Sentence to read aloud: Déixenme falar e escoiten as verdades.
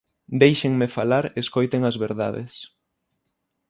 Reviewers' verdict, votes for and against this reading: accepted, 6, 0